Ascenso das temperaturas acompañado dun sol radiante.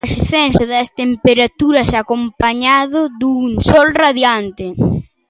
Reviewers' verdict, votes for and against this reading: accepted, 2, 1